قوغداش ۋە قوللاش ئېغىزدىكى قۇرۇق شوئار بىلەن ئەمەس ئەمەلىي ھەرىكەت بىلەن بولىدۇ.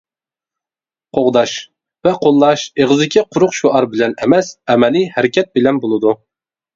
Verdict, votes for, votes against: accepted, 2, 0